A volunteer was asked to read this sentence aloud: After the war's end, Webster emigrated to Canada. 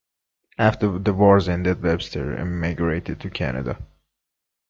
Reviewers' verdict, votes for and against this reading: rejected, 0, 2